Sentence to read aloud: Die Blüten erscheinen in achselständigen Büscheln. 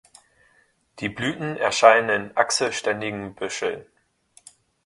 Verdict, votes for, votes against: rejected, 0, 2